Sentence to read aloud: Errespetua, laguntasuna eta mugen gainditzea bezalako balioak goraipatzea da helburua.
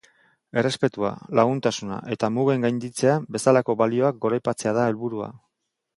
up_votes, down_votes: 4, 0